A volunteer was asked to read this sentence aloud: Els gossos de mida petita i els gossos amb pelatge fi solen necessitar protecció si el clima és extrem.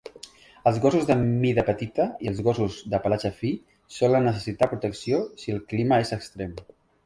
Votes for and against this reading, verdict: 1, 2, rejected